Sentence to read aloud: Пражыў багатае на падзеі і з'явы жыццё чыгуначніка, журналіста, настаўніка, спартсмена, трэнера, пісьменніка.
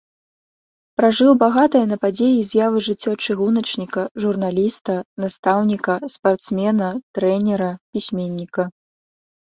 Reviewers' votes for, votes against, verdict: 2, 0, accepted